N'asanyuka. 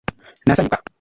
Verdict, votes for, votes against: rejected, 0, 2